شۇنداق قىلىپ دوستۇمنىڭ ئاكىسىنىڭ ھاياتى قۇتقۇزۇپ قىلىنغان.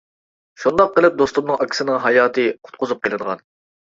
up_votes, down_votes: 2, 0